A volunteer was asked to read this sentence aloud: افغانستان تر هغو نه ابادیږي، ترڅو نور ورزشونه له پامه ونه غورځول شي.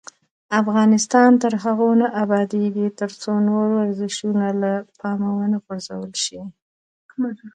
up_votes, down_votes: 2, 0